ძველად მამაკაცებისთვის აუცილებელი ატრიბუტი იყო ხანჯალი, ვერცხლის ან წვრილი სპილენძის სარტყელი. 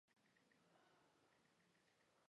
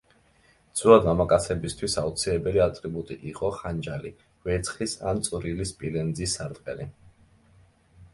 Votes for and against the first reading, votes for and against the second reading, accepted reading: 0, 2, 2, 0, second